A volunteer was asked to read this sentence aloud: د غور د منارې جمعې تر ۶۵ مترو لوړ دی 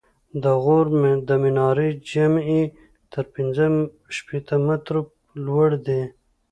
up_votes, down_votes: 0, 2